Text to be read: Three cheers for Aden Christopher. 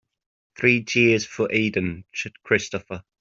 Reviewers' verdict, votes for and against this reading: rejected, 1, 3